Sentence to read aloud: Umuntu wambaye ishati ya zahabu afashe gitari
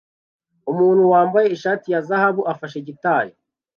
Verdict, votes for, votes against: accepted, 2, 0